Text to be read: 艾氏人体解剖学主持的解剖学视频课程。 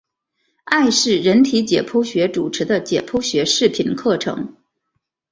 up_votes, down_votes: 2, 0